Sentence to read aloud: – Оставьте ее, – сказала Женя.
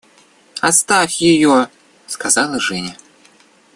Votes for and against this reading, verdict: 0, 2, rejected